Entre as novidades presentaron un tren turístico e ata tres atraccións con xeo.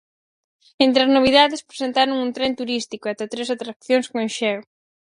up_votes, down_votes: 4, 0